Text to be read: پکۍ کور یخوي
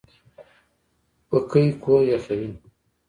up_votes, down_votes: 2, 0